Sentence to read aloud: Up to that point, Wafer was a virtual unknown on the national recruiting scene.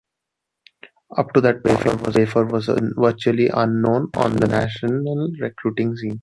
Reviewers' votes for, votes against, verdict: 1, 2, rejected